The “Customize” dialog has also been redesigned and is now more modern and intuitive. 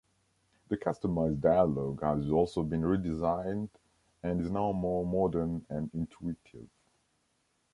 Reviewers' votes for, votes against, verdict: 1, 2, rejected